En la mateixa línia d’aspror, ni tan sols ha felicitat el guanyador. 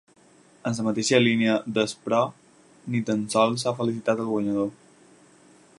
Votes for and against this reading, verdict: 2, 4, rejected